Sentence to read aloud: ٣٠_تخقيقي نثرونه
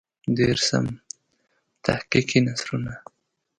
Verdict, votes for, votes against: rejected, 0, 2